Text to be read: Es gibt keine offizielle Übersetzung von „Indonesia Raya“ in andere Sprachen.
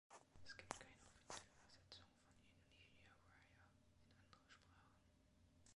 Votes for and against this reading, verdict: 0, 2, rejected